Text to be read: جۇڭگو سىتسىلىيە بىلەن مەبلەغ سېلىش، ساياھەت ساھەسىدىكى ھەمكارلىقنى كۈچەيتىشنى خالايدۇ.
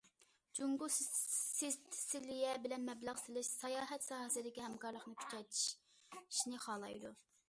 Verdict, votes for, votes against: rejected, 0, 2